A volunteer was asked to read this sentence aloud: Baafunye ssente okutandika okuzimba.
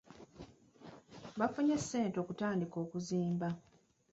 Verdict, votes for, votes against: accepted, 2, 0